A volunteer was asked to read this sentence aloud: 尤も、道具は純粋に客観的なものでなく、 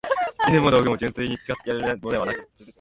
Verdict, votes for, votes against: rejected, 0, 3